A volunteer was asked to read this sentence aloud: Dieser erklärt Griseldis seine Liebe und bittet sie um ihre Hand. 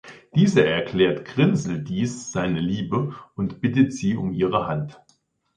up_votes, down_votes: 3, 4